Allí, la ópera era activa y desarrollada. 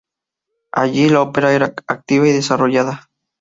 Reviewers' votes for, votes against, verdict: 0, 2, rejected